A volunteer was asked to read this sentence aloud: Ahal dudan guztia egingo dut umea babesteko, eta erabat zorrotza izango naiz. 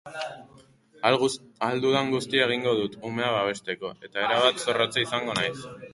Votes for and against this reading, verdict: 0, 4, rejected